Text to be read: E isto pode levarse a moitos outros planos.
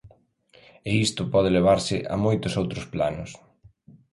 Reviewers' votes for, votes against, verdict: 3, 0, accepted